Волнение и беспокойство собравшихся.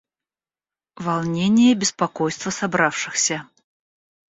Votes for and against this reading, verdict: 1, 2, rejected